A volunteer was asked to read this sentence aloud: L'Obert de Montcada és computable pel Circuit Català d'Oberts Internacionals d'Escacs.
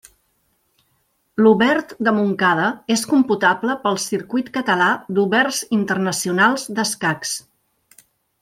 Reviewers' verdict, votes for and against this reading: accepted, 3, 0